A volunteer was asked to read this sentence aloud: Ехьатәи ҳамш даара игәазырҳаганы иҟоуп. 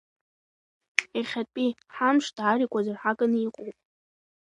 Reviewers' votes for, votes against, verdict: 2, 1, accepted